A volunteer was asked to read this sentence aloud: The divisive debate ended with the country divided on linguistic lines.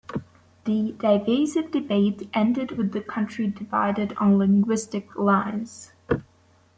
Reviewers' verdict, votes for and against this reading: rejected, 1, 2